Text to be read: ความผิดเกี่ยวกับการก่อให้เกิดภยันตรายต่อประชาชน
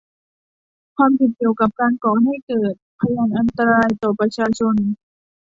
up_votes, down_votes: 1, 2